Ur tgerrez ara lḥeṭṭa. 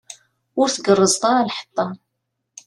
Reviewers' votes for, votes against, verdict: 1, 2, rejected